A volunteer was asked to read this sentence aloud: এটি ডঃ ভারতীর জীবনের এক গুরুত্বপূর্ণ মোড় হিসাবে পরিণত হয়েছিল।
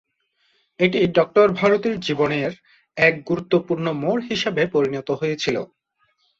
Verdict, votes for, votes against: accepted, 2, 0